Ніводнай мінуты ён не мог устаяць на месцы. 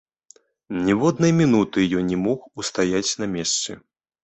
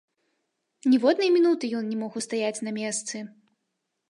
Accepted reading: first